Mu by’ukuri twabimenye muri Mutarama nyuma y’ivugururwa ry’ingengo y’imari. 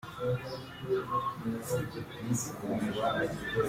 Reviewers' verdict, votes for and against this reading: rejected, 0, 2